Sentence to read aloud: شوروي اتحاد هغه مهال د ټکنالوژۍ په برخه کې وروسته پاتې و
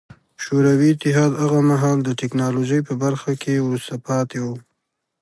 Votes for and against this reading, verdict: 2, 0, accepted